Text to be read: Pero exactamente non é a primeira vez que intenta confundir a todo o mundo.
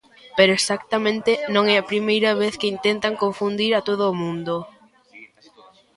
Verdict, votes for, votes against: rejected, 1, 2